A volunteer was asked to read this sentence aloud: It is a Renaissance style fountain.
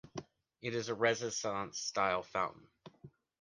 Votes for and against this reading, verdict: 1, 2, rejected